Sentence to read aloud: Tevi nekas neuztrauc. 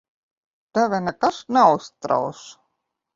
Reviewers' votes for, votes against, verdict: 1, 2, rejected